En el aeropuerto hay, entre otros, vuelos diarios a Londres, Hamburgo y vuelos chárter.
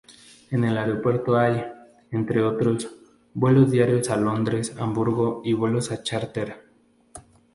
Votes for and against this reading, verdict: 0, 2, rejected